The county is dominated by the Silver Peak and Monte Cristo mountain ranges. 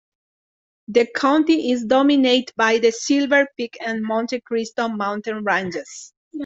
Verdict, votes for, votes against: accepted, 2, 0